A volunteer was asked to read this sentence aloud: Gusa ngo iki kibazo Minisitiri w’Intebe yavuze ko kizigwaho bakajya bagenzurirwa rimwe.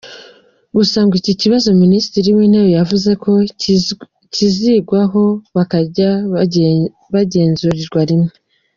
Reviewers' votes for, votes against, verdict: 0, 2, rejected